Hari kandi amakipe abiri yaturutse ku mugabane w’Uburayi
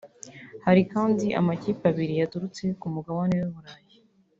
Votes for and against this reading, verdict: 0, 2, rejected